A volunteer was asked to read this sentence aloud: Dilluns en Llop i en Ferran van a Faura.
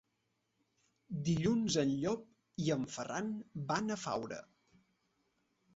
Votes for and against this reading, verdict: 2, 1, accepted